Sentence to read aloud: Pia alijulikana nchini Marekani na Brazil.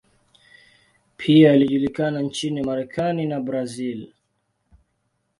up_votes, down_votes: 2, 0